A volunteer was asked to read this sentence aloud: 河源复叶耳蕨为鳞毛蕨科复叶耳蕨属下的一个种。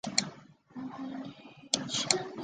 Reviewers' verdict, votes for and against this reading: rejected, 0, 3